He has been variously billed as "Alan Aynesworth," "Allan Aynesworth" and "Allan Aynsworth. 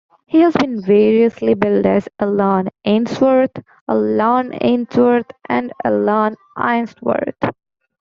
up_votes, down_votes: 1, 2